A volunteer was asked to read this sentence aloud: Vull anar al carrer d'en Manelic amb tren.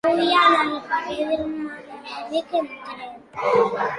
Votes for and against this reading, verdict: 0, 2, rejected